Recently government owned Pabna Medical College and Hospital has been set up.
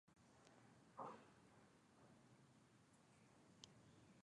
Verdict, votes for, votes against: rejected, 0, 2